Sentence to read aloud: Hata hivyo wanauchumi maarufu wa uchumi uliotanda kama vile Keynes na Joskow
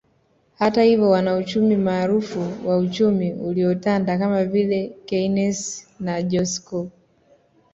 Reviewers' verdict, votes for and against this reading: accepted, 2, 0